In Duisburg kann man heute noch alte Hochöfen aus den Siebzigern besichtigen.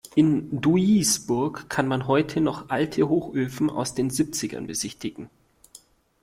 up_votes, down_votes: 0, 2